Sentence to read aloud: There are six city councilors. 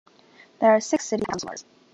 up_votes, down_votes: 3, 1